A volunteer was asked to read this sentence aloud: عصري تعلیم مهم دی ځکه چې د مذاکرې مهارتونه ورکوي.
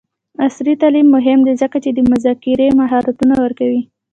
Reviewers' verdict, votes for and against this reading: rejected, 0, 2